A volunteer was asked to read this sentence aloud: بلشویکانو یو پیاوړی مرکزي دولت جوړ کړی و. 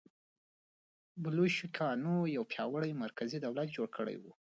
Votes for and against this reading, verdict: 2, 1, accepted